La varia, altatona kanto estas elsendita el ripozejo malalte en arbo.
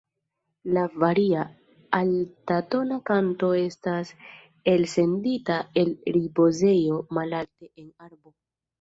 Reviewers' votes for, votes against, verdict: 0, 2, rejected